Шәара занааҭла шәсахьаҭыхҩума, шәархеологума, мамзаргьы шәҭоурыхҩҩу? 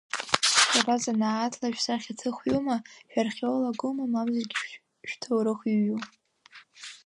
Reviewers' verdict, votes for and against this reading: rejected, 0, 2